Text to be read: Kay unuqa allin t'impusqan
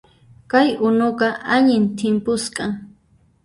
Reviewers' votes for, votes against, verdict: 0, 2, rejected